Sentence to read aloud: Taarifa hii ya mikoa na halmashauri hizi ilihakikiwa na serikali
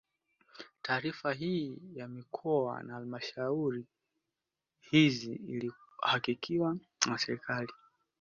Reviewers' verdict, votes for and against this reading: accepted, 2, 0